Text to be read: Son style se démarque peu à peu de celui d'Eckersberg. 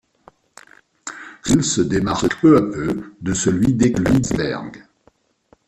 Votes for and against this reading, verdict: 0, 2, rejected